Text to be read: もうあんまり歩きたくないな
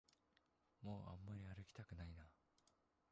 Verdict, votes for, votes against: rejected, 0, 2